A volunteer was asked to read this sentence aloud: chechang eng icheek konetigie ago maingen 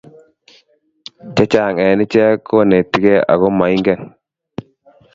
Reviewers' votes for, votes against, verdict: 2, 0, accepted